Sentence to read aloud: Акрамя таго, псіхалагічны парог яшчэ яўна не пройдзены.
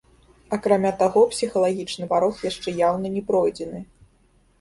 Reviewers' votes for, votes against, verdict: 2, 1, accepted